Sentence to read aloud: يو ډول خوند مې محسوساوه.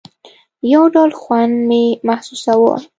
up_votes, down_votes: 3, 0